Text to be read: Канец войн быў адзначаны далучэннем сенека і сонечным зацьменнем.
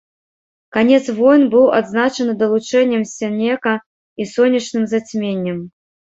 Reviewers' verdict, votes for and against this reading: rejected, 1, 2